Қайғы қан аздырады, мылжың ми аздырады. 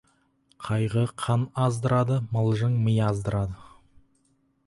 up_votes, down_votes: 4, 0